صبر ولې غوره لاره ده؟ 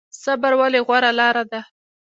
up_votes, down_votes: 1, 2